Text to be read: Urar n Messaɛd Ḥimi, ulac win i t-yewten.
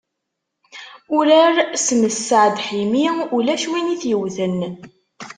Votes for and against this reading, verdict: 1, 2, rejected